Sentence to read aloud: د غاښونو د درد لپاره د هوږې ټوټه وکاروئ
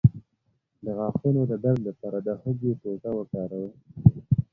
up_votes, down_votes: 2, 0